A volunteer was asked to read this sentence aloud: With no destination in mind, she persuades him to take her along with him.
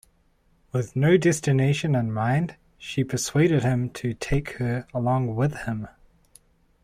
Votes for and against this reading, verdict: 1, 2, rejected